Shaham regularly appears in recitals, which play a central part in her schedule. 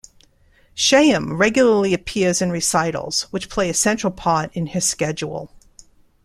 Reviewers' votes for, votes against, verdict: 2, 0, accepted